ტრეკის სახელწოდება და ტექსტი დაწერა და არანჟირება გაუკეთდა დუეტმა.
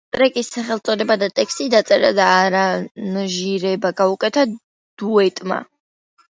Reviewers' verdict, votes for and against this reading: rejected, 1, 2